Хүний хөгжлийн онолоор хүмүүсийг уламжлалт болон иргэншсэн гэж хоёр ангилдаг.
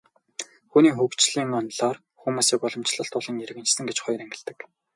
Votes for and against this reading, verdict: 0, 2, rejected